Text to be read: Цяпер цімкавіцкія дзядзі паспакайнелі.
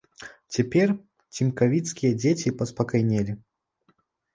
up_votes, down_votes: 1, 2